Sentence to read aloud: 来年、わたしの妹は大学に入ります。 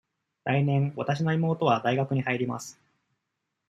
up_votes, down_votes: 2, 0